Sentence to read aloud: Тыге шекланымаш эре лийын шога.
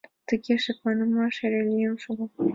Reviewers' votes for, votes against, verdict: 2, 0, accepted